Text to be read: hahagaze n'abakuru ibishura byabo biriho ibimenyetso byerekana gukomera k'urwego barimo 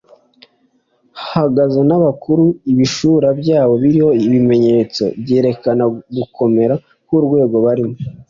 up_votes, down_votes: 3, 1